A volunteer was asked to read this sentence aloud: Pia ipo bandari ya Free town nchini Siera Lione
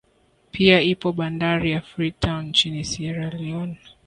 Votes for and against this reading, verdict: 2, 1, accepted